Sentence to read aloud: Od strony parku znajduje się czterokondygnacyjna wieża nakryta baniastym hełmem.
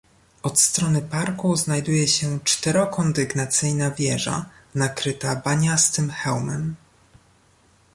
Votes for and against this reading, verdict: 2, 0, accepted